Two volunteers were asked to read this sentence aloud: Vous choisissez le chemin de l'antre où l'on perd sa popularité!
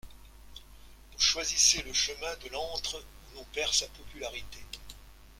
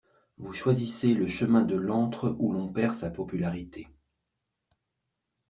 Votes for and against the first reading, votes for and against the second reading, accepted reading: 1, 2, 2, 0, second